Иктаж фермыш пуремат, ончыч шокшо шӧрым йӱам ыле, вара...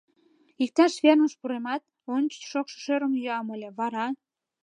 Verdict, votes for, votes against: accepted, 2, 0